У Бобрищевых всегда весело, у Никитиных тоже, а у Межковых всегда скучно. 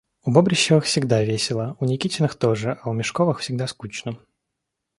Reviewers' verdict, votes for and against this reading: accepted, 2, 0